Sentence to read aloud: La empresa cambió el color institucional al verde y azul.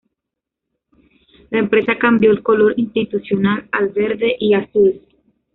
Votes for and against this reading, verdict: 0, 2, rejected